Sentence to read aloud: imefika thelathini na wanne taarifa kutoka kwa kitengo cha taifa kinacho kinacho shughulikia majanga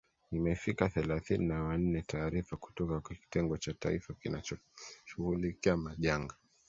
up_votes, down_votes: 1, 2